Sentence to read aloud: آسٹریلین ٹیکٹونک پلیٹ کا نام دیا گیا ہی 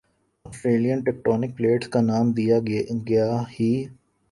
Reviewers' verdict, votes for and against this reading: rejected, 1, 2